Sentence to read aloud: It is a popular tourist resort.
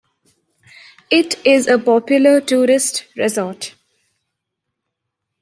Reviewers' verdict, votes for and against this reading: accepted, 2, 1